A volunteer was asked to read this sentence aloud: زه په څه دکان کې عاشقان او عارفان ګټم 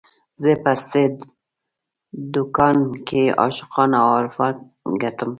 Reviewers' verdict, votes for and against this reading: rejected, 1, 2